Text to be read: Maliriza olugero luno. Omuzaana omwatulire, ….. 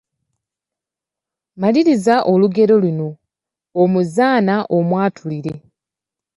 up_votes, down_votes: 2, 0